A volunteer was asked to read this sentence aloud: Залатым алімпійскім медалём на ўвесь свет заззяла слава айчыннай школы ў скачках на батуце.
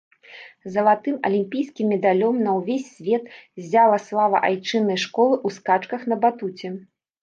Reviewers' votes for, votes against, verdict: 0, 2, rejected